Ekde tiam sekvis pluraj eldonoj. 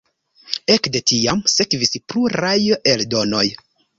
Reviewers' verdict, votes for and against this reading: accepted, 2, 1